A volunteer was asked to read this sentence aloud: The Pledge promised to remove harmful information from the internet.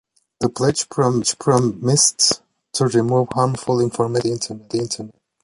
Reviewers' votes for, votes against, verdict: 0, 2, rejected